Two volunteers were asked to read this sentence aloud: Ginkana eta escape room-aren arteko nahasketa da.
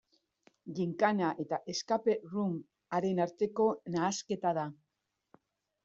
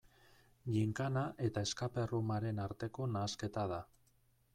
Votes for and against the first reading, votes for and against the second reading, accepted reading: 2, 0, 1, 2, first